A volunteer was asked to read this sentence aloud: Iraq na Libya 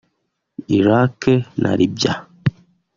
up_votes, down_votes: 1, 2